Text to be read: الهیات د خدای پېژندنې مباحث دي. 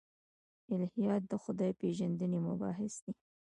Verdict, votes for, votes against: accepted, 2, 0